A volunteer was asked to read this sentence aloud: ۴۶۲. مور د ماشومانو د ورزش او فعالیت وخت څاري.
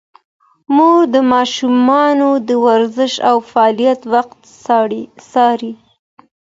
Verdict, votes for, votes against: rejected, 0, 2